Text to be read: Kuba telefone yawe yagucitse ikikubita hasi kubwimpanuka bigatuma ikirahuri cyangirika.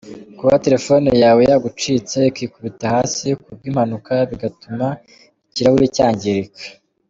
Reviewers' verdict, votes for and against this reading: accepted, 2, 1